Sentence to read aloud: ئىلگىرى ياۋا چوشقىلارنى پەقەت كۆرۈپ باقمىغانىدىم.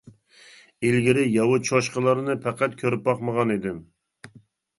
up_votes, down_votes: 2, 0